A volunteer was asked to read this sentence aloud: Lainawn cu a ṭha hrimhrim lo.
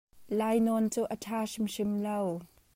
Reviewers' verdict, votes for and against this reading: accepted, 2, 0